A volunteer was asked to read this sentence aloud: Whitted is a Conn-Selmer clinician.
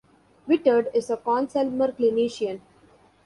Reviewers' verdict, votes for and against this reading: rejected, 1, 2